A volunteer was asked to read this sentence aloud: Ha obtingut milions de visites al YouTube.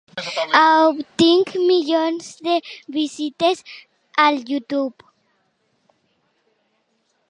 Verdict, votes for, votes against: rejected, 0, 2